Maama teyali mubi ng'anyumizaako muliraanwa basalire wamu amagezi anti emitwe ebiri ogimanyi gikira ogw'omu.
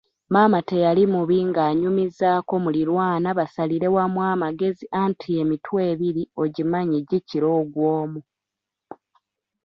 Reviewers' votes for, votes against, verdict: 0, 2, rejected